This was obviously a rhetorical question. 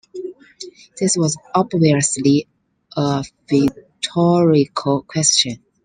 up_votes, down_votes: 0, 2